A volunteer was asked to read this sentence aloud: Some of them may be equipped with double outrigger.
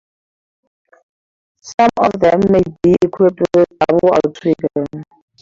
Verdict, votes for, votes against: rejected, 2, 2